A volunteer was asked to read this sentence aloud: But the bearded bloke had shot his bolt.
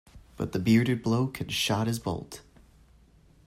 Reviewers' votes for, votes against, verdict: 2, 0, accepted